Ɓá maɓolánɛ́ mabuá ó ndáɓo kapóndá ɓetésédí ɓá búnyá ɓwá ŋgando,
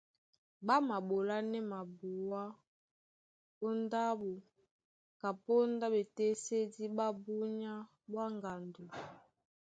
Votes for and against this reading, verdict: 2, 0, accepted